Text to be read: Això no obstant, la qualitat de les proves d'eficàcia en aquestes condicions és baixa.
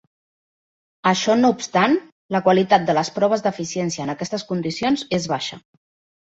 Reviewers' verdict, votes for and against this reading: rejected, 0, 2